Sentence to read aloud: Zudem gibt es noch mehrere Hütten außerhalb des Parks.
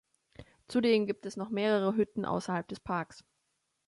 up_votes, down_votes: 2, 1